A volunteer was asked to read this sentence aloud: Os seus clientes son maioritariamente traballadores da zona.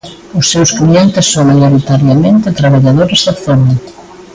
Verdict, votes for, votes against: accepted, 2, 1